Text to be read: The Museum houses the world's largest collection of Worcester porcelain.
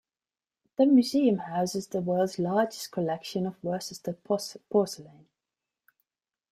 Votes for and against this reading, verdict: 1, 2, rejected